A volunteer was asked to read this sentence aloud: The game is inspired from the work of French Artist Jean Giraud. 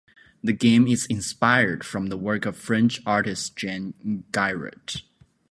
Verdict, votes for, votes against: rejected, 0, 2